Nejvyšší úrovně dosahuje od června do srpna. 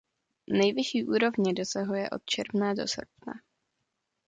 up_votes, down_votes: 2, 0